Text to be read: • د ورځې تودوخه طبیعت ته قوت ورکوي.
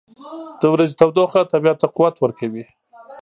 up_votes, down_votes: 1, 2